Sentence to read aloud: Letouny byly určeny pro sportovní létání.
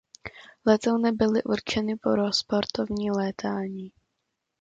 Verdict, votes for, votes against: rejected, 1, 2